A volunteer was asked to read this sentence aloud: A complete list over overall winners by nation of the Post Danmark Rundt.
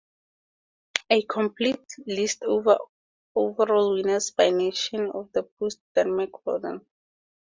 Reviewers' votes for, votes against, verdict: 0, 2, rejected